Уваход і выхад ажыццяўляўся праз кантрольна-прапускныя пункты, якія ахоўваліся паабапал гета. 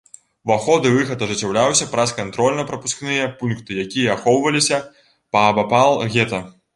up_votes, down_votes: 0, 2